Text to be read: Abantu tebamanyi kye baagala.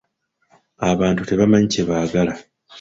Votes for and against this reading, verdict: 2, 0, accepted